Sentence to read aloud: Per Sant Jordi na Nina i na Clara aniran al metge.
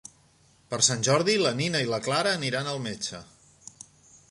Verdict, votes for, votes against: rejected, 0, 2